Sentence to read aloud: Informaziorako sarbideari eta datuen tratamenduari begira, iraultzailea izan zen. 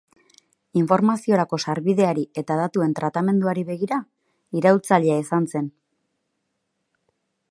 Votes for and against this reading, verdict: 4, 0, accepted